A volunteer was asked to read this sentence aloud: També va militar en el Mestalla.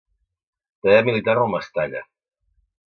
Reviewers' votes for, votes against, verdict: 0, 2, rejected